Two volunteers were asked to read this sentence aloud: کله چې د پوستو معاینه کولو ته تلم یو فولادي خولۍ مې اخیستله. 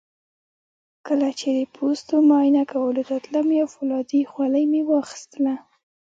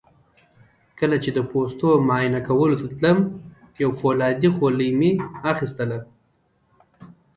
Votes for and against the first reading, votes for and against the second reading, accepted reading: 2, 0, 1, 2, first